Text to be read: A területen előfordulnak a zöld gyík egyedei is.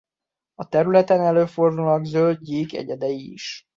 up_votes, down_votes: 0, 2